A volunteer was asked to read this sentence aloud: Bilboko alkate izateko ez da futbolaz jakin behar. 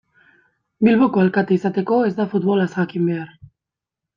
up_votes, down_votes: 2, 0